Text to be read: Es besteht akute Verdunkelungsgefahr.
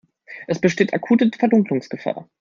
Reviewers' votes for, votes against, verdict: 2, 1, accepted